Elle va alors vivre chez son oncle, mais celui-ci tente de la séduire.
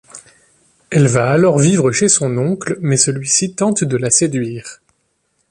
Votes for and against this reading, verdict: 2, 0, accepted